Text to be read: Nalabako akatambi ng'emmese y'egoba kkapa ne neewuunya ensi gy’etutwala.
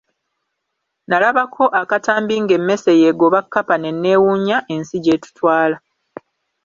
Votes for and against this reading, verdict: 2, 0, accepted